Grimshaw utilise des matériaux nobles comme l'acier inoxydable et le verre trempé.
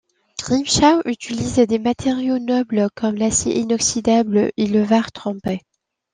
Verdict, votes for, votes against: rejected, 0, 2